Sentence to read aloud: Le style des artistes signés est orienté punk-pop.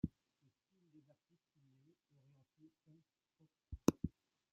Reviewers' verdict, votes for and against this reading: rejected, 0, 2